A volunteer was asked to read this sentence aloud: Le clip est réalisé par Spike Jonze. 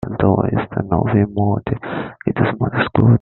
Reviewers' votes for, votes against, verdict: 0, 2, rejected